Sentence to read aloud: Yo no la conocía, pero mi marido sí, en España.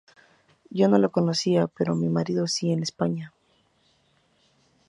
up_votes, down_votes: 0, 2